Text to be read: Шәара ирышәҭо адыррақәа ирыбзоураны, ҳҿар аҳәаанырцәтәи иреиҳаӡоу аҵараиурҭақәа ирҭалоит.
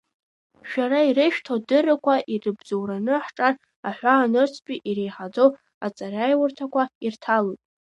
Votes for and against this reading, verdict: 2, 0, accepted